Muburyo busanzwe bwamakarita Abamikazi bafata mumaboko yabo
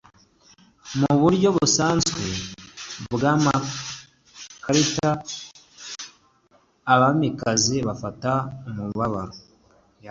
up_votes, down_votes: 1, 2